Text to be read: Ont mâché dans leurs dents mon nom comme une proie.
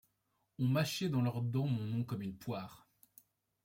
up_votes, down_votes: 0, 2